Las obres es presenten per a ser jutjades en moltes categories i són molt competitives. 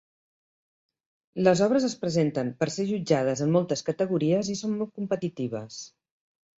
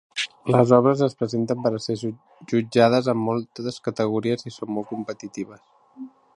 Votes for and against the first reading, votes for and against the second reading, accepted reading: 3, 0, 0, 2, first